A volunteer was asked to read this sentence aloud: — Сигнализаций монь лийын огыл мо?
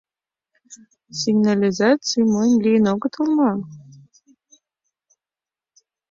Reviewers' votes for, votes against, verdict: 1, 2, rejected